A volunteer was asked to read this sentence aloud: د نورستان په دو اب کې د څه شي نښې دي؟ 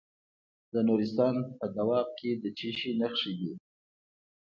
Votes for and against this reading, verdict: 2, 0, accepted